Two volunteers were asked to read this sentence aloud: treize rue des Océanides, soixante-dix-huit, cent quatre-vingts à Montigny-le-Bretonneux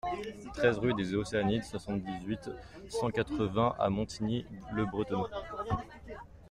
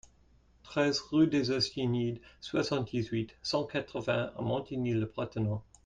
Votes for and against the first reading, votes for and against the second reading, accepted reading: 1, 2, 2, 0, second